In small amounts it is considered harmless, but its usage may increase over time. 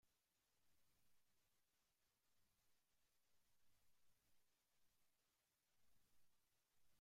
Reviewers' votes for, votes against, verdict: 0, 2, rejected